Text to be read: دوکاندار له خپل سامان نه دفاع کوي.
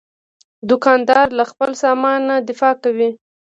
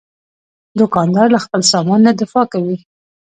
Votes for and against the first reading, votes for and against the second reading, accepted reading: 2, 0, 0, 2, first